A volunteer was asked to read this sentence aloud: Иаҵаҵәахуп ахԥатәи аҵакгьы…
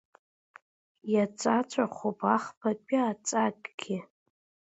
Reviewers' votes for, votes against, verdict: 0, 2, rejected